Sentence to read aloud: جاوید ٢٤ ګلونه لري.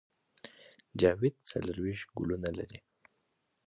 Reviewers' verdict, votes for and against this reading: rejected, 0, 2